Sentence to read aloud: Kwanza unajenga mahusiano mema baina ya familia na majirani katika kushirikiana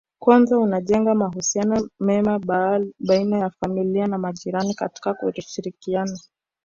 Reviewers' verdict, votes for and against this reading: rejected, 0, 2